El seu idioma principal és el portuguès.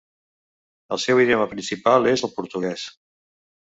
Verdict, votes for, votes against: accepted, 2, 0